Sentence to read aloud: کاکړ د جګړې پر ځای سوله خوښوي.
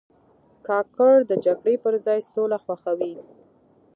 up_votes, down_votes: 1, 2